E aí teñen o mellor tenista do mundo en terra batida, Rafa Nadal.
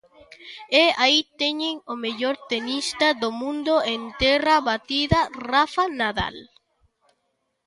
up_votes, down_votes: 2, 0